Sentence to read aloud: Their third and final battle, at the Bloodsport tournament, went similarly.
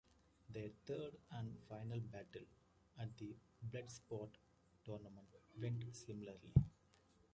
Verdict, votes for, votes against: accepted, 2, 0